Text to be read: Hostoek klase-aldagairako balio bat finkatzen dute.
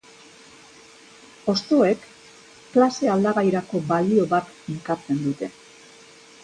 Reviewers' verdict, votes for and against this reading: accepted, 2, 0